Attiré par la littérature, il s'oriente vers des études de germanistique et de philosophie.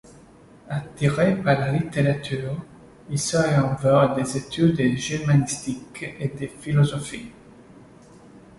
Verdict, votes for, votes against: rejected, 0, 2